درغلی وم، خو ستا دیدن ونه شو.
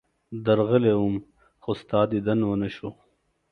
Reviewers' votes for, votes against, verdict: 2, 0, accepted